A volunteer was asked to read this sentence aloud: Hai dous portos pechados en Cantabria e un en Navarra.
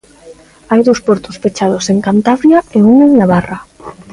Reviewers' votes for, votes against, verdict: 2, 0, accepted